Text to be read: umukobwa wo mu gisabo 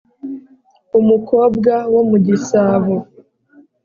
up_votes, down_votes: 3, 0